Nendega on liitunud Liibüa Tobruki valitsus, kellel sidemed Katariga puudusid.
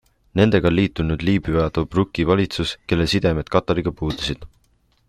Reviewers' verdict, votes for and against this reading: accepted, 2, 1